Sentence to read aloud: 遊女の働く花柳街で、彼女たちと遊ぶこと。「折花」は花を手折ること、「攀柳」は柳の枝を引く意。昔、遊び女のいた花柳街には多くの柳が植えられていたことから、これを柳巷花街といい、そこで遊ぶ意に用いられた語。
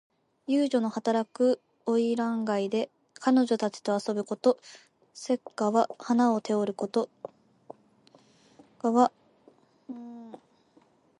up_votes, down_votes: 1, 2